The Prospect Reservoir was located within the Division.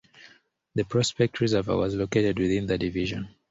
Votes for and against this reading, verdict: 2, 0, accepted